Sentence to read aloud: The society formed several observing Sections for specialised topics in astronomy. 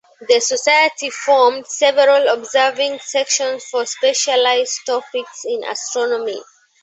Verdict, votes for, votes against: accepted, 2, 0